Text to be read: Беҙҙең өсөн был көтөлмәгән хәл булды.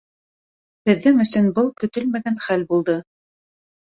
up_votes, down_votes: 2, 0